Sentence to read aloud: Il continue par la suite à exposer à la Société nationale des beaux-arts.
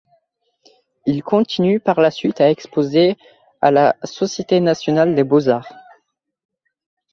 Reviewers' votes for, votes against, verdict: 2, 0, accepted